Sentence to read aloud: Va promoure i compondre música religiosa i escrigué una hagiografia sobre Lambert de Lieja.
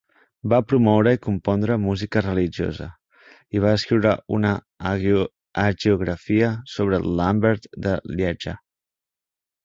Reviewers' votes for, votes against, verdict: 0, 2, rejected